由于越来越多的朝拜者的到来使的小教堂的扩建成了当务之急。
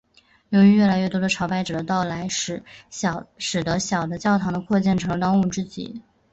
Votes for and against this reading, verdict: 2, 2, rejected